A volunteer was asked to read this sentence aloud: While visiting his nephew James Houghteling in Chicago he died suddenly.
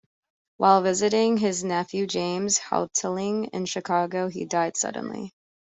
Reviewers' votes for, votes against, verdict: 2, 0, accepted